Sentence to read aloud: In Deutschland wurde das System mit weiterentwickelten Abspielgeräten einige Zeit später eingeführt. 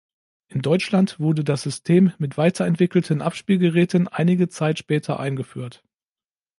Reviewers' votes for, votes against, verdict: 2, 0, accepted